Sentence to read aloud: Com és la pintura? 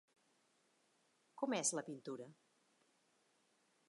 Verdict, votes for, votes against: rejected, 1, 2